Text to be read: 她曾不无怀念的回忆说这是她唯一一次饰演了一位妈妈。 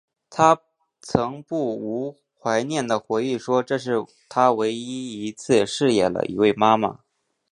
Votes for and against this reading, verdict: 2, 1, accepted